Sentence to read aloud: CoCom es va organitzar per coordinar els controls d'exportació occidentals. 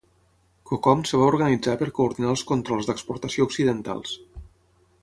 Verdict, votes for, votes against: rejected, 3, 6